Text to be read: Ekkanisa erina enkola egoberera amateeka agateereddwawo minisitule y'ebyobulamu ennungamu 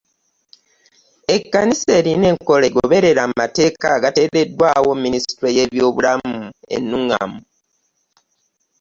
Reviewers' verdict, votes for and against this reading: accepted, 2, 0